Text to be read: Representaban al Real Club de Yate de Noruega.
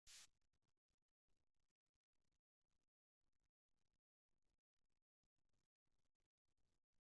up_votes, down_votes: 0, 2